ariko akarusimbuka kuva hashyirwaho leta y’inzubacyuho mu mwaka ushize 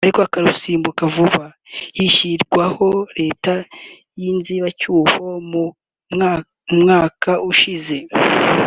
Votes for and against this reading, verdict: 1, 4, rejected